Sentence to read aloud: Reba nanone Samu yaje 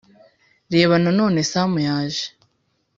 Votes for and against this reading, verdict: 2, 0, accepted